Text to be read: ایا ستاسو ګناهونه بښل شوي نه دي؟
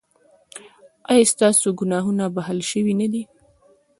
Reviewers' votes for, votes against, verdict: 2, 1, accepted